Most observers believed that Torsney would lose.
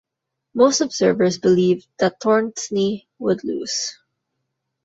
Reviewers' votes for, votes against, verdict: 0, 2, rejected